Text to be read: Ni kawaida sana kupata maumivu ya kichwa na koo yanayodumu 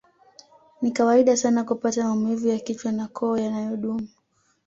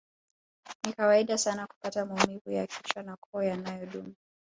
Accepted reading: first